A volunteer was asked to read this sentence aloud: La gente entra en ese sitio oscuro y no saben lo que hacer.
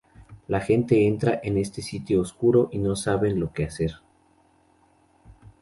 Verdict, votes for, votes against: accepted, 4, 0